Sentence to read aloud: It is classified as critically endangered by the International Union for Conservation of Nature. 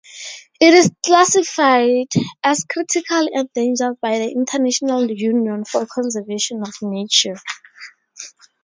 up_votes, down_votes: 0, 2